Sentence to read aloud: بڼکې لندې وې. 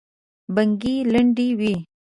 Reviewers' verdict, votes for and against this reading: accepted, 6, 5